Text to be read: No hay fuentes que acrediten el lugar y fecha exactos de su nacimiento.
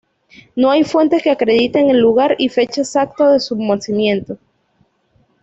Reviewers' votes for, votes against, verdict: 2, 0, accepted